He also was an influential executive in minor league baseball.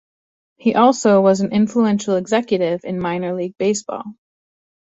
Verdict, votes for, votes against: accepted, 2, 0